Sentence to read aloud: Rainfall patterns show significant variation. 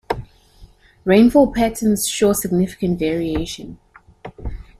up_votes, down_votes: 3, 0